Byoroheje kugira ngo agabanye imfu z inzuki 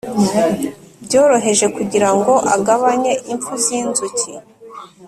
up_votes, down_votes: 3, 0